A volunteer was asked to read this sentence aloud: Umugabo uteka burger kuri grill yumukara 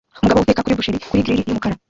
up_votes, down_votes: 0, 2